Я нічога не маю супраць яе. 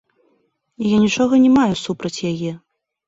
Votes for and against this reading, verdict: 1, 2, rejected